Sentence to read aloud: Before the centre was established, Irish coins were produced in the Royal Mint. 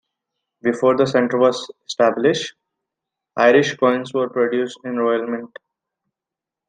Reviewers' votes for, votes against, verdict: 2, 0, accepted